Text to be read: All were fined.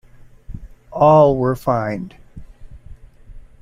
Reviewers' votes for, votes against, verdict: 2, 0, accepted